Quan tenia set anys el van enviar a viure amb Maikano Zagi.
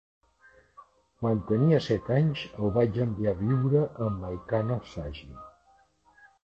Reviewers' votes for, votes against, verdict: 1, 2, rejected